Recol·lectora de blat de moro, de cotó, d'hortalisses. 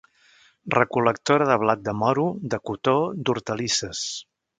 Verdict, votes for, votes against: accepted, 3, 0